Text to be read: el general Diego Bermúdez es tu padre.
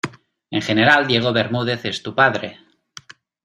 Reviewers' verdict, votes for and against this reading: rejected, 0, 2